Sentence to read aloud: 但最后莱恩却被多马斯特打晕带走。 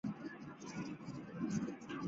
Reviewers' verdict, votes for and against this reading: rejected, 0, 2